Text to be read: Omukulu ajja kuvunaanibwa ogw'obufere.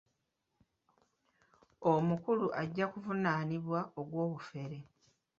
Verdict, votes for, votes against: accepted, 2, 1